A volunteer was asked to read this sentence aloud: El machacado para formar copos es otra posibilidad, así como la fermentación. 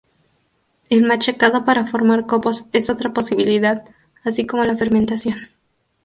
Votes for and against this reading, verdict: 0, 2, rejected